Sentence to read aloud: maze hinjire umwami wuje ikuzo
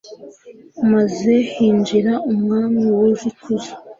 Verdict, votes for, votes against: rejected, 1, 2